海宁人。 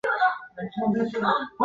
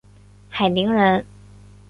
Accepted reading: second